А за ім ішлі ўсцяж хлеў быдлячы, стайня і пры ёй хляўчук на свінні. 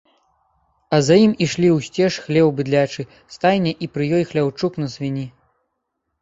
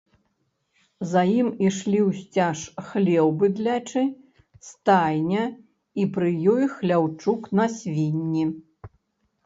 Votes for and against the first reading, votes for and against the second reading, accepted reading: 2, 0, 0, 2, first